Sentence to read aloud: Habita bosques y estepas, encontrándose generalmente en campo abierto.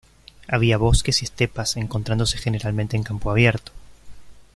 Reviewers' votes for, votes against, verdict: 0, 2, rejected